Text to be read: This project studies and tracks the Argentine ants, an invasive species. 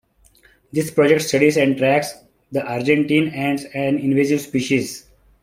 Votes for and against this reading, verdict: 2, 0, accepted